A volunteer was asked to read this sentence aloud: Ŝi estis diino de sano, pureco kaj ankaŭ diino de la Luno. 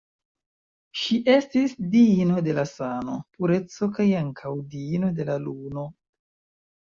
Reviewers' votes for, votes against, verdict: 2, 0, accepted